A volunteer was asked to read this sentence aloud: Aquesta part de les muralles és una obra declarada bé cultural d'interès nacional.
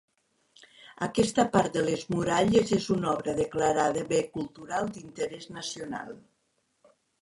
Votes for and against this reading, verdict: 0, 2, rejected